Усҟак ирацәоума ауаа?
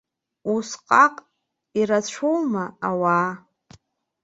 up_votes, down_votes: 2, 1